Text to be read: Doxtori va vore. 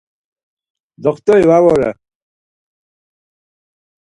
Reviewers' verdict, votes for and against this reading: accepted, 4, 0